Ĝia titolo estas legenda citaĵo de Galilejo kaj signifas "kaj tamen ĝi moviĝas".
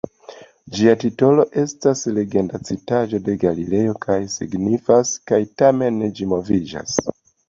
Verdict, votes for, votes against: accepted, 2, 0